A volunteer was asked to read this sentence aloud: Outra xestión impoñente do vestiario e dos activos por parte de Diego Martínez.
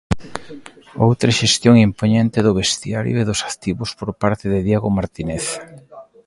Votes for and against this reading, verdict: 2, 1, accepted